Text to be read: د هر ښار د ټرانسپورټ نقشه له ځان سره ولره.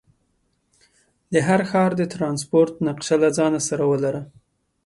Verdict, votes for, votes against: accepted, 2, 0